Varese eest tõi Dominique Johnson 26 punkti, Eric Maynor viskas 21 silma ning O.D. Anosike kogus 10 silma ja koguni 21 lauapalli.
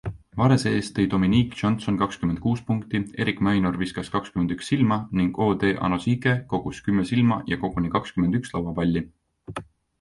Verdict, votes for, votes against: rejected, 0, 2